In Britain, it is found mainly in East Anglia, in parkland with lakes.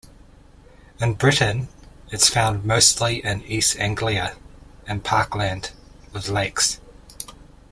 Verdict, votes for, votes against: rejected, 0, 2